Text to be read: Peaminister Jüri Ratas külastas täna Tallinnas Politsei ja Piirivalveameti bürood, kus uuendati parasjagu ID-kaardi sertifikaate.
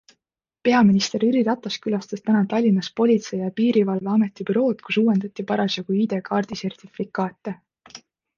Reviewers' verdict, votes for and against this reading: accepted, 2, 0